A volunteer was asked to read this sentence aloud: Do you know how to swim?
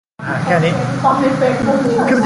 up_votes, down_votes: 0, 2